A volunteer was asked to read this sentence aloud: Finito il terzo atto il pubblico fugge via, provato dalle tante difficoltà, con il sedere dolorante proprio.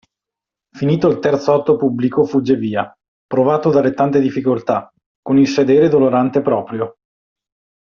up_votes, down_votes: 1, 2